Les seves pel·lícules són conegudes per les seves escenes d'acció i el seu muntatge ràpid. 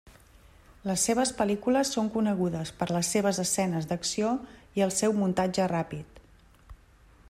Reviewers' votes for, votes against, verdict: 3, 0, accepted